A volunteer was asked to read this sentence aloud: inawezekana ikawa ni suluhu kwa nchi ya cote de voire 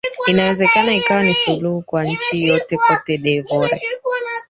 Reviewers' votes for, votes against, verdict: 0, 2, rejected